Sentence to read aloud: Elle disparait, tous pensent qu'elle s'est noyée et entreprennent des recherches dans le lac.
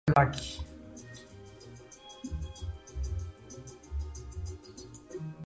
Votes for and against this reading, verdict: 0, 2, rejected